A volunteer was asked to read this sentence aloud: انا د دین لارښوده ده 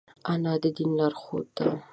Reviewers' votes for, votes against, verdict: 2, 0, accepted